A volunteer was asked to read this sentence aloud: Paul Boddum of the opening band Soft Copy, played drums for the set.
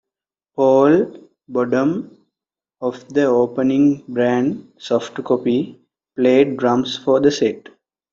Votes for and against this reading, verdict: 0, 2, rejected